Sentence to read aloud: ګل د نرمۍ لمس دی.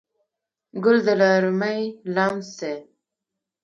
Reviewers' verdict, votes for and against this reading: rejected, 1, 2